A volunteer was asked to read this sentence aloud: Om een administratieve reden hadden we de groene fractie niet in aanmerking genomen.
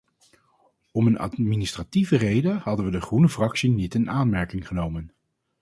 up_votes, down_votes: 4, 0